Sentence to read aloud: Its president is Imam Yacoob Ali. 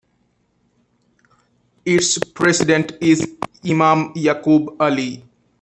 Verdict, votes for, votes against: accepted, 2, 1